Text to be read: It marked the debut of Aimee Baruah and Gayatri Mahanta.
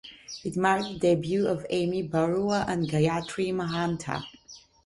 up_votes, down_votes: 1, 2